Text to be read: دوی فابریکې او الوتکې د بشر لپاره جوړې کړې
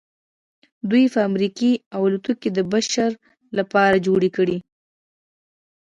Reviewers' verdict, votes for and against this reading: accepted, 3, 1